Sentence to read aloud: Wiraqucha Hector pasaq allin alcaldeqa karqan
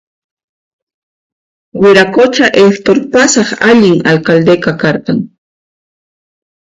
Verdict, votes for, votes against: accepted, 2, 1